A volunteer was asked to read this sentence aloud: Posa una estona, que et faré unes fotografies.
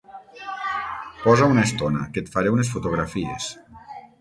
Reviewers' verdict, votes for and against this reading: rejected, 3, 12